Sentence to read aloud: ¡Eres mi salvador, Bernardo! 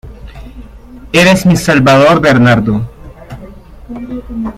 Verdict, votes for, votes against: accepted, 2, 0